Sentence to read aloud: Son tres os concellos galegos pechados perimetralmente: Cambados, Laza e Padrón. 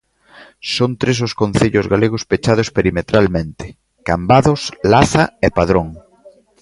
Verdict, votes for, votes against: accepted, 4, 0